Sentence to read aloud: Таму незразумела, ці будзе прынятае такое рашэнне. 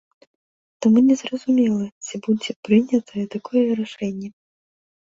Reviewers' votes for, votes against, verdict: 1, 2, rejected